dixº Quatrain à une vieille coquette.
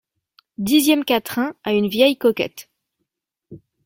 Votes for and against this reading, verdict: 2, 0, accepted